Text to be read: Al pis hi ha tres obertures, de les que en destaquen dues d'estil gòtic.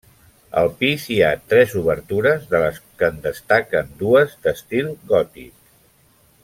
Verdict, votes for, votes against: accepted, 2, 0